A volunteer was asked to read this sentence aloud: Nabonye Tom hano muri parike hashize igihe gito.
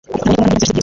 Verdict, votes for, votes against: rejected, 0, 2